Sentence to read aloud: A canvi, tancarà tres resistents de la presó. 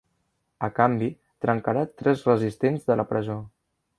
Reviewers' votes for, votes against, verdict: 0, 2, rejected